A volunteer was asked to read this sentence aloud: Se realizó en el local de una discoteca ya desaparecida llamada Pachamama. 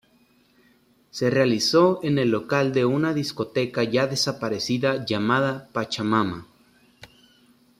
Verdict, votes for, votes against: accepted, 3, 0